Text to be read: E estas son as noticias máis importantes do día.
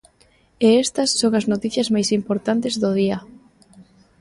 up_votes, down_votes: 2, 0